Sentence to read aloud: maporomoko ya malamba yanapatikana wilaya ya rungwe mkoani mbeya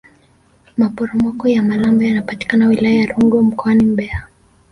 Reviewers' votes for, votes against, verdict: 0, 2, rejected